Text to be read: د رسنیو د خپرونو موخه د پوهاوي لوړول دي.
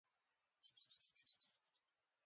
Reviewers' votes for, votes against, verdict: 0, 2, rejected